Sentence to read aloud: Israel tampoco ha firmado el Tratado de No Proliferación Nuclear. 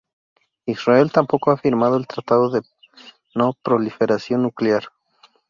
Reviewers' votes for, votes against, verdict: 2, 0, accepted